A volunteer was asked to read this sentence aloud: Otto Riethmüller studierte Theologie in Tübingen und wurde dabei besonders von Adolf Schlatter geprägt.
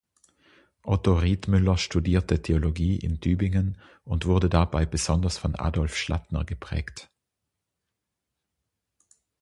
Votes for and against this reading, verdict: 3, 6, rejected